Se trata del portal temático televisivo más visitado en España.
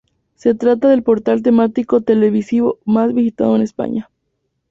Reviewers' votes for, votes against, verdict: 6, 0, accepted